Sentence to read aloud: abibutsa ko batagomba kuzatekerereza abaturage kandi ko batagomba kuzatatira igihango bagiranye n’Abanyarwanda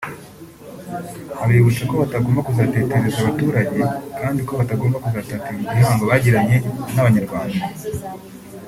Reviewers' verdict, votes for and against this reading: rejected, 0, 2